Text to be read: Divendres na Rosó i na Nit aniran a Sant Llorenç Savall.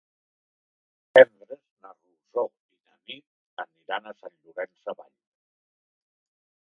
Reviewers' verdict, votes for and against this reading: rejected, 0, 2